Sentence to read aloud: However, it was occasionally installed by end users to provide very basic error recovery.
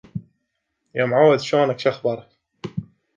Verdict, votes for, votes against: rejected, 1, 3